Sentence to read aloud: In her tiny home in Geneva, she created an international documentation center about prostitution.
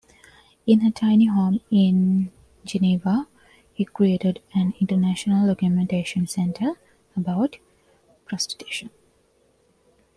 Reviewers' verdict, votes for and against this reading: accepted, 2, 1